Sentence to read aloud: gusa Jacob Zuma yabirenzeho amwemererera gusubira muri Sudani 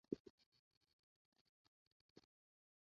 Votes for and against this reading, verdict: 0, 2, rejected